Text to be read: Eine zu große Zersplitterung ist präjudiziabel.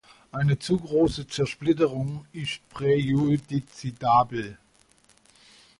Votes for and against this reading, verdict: 0, 2, rejected